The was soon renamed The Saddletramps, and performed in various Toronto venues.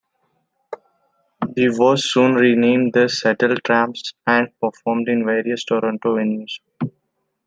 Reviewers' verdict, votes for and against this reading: rejected, 0, 2